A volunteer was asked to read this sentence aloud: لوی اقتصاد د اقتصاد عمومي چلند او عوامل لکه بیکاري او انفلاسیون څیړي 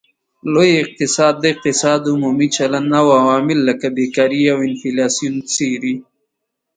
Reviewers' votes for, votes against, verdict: 2, 0, accepted